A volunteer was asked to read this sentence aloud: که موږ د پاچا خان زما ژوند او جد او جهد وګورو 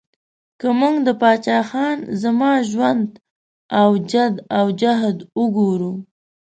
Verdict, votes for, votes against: accepted, 2, 0